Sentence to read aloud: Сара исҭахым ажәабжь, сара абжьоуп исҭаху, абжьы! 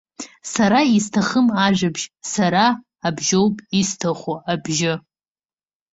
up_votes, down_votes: 0, 2